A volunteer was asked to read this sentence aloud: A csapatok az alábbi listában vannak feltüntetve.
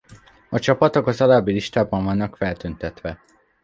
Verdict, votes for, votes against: accepted, 2, 0